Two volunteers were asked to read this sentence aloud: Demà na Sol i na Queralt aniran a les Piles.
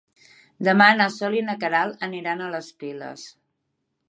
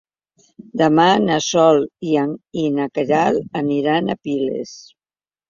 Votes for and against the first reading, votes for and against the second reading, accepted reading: 3, 0, 0, 2, first